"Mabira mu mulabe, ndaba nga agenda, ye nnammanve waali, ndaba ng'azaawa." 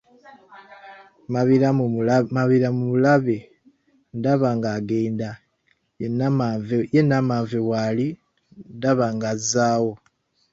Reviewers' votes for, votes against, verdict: 2, 1, accepted